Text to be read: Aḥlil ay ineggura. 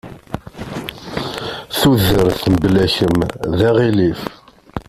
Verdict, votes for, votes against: rejected, 0, 2